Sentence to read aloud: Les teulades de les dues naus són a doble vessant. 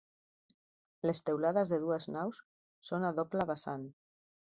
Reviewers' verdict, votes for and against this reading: accepted, 2, 0